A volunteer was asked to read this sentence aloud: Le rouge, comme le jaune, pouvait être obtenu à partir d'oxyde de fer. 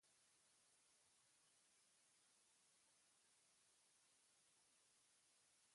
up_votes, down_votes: 0, 2